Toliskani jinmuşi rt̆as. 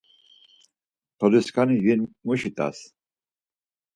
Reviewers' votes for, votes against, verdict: 4, 0, accepted